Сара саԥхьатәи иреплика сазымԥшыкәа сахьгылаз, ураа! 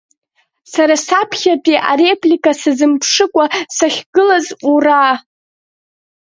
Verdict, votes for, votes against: rejected, 0, 2